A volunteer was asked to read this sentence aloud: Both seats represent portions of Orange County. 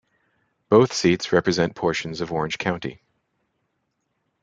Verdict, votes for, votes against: accepted, 2, 0